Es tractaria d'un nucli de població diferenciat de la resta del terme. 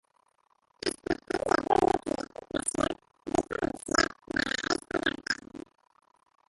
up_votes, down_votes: 0, 2